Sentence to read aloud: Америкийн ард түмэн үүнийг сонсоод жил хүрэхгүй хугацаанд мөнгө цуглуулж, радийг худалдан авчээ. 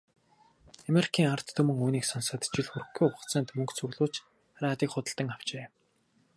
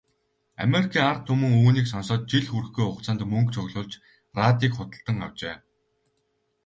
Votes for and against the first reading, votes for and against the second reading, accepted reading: 0, 2, 4, 0, second